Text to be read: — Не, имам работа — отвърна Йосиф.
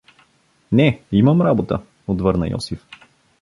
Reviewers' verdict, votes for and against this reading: accepted, 2, 0